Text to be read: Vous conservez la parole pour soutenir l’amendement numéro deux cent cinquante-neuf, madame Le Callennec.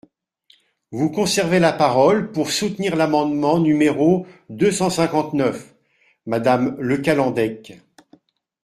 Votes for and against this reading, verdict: 0, 2, rejected